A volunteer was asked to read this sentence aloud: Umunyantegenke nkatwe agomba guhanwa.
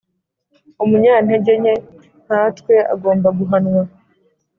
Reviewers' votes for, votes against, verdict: 2, 0, accepted